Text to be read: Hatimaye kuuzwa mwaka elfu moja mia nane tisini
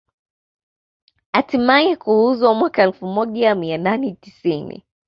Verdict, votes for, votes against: accepted, 2, 0